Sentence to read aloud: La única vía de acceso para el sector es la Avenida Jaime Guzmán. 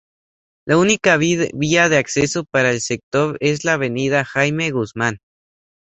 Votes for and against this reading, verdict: 0, 2, rejected